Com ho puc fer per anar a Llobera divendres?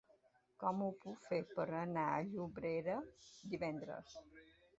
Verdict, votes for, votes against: rejected, 0, 2